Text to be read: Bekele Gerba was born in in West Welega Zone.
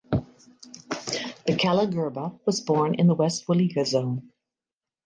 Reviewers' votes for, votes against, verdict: 2, 0, accepted